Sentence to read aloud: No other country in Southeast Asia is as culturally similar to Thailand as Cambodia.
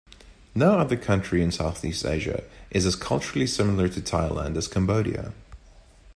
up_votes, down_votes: 2, 0